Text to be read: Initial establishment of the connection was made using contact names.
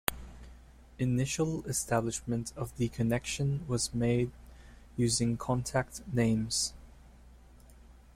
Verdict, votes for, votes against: accepted, 3, 0